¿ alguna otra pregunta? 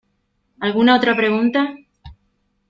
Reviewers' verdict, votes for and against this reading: accepted, 2, 0